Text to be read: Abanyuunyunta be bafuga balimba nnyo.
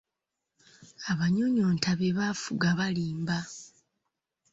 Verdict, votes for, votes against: rejected, 1, 2